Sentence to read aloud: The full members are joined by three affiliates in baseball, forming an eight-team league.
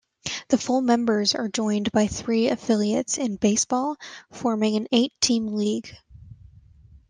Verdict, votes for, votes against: accepted, 2, 0